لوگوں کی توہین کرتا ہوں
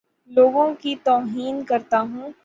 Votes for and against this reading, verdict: 6, 0, accepted